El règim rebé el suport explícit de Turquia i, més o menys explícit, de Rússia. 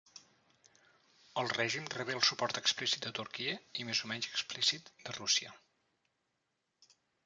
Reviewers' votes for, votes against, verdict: 0, 2, rejected